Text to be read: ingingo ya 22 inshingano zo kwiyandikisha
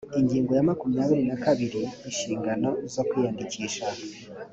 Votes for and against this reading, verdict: 0, 2, rejected